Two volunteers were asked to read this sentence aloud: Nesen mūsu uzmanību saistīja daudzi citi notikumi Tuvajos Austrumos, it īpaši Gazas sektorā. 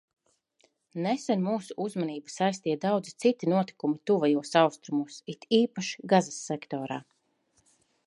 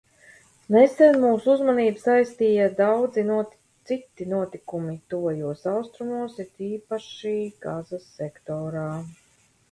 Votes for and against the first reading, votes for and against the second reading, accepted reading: 2, 0, 0, 2, first